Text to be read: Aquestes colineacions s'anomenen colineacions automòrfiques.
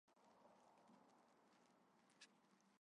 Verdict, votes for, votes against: rejected, 0, 2